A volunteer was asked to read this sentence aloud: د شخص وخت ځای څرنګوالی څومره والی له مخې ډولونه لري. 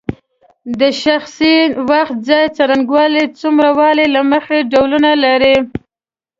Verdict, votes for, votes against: accepted, 2, 0